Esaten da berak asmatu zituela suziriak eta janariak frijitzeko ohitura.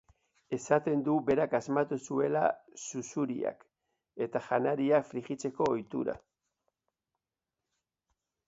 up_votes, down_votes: 0, 3